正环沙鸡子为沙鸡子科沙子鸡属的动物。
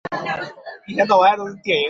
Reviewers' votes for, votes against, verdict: 0, 4, rejected